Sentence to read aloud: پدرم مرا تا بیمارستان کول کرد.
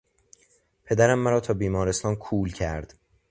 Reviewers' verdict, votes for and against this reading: accepted, 2, 0